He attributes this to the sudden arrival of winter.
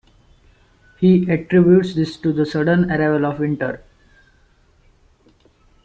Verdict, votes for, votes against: accepted, 2, 0